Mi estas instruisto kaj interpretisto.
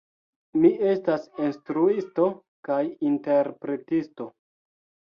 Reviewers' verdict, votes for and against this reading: rejected, 1, 2